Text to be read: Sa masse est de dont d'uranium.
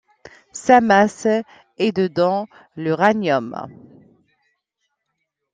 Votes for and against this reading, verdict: 1, 2, rejected